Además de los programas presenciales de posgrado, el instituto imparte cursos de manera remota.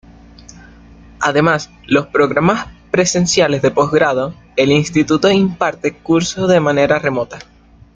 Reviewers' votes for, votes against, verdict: 0, 2, rejected